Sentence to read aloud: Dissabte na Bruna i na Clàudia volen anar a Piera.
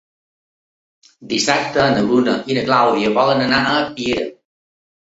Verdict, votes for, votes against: accepted, 2, 0